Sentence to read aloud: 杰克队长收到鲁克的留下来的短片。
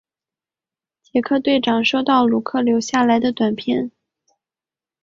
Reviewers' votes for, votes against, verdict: 2, 0, accepted